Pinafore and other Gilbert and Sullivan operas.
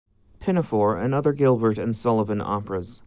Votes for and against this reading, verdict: 2, 1, accepted